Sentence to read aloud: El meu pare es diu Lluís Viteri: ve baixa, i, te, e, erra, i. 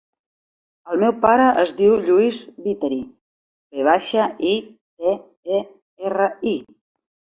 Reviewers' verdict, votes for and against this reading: accepted, 2, 0